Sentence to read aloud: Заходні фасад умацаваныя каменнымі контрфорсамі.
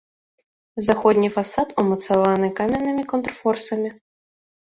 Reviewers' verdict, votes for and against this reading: rejected, 1, 2